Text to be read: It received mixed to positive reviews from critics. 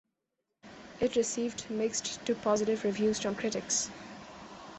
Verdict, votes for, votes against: accepted, 2, 0